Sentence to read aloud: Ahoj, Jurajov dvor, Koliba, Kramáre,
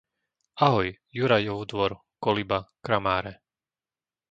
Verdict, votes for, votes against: accepted, 2, 0